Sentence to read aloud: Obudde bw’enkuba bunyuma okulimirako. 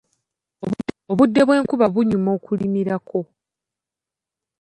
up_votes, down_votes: 0, 2